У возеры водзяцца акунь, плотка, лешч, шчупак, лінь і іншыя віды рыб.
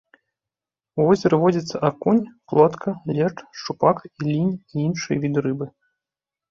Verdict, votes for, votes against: rejected, 1, 2